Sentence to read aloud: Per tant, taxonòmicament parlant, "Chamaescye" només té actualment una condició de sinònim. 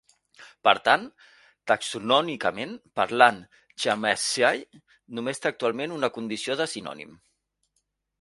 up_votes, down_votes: 2, 0